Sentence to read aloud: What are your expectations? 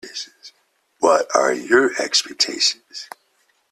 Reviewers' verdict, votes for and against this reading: rejected, 0, 2